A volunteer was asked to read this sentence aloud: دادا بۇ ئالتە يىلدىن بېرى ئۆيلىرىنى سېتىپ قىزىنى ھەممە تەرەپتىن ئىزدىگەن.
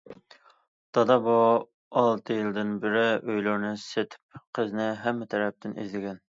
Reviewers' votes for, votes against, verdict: 2, 0, accepted